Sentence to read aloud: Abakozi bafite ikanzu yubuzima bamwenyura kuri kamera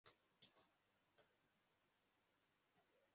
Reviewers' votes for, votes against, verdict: 0, 2, rejected